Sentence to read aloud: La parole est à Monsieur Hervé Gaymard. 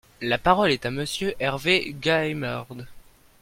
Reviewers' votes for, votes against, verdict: 0, 2, rejected